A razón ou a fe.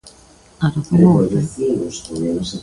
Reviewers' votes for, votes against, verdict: 1, 2, rejected